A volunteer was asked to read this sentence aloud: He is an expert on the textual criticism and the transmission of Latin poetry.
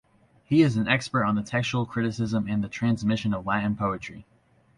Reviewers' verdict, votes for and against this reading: accepted, 2, 0